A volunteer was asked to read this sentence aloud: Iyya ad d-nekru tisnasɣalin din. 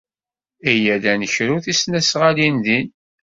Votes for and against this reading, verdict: 2, 0, accepted